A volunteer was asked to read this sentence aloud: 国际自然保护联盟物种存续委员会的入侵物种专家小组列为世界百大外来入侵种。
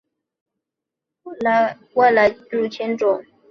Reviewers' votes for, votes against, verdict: 0, 2, rejected